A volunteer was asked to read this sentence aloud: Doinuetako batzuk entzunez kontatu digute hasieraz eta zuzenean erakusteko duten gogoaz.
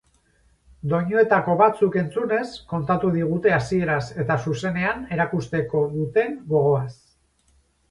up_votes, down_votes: 4, 0